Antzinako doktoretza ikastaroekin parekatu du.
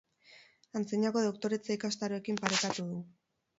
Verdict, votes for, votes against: rejected, 2, 2